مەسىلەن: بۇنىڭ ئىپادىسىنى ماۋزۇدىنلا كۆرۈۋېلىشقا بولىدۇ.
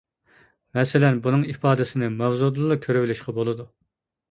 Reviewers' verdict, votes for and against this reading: accepted, 2, 0